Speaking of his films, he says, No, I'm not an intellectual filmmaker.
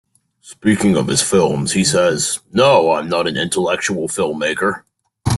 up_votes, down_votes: 2, 0